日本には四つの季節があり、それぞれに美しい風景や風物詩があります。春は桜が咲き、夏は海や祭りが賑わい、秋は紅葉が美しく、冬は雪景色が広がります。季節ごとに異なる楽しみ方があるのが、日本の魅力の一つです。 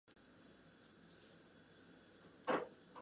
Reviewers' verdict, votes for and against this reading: rejected, 0, 2